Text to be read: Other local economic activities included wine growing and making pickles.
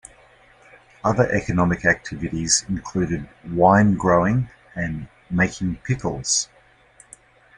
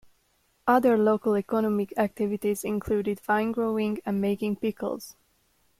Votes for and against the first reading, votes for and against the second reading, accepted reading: 0, 2, 2, 0, second